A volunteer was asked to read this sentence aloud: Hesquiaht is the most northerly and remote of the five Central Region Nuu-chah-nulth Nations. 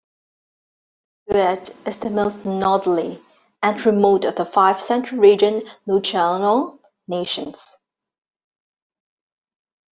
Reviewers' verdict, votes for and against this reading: rejected, 1, 2